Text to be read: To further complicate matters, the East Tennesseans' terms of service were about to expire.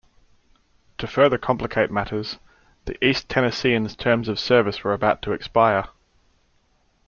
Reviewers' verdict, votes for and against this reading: accepted, 2, 0